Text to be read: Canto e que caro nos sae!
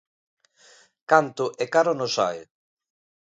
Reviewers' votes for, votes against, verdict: 0, 2, rejected